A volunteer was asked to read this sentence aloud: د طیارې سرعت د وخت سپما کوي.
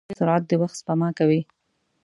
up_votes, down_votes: 1, 2